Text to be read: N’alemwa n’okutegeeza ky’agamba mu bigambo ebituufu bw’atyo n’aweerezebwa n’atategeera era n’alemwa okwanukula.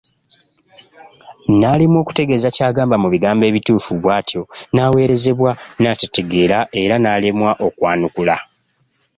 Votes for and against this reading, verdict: 1, 2, rejected